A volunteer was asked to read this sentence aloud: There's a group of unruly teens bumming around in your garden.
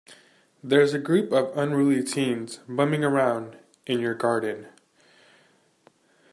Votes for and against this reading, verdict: 2, 0, accepted